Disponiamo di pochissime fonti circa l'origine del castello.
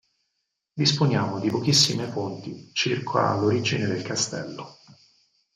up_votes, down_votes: 0, 4